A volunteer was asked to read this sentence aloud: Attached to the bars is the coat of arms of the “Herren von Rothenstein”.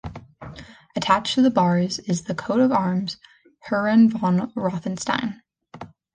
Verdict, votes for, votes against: rejected, 1, 2